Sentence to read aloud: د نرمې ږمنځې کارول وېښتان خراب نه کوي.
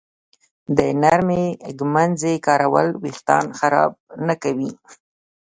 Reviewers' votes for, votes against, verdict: 2, 0, accepted